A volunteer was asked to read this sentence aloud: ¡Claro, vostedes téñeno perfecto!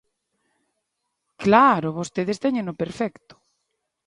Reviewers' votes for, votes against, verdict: 2, 1, accepted